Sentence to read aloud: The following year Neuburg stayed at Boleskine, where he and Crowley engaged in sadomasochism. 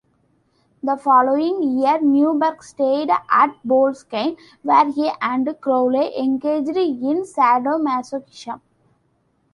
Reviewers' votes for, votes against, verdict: 0, 2, rejected